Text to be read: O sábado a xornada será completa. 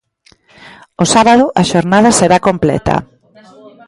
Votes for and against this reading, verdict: 1, 2, rejected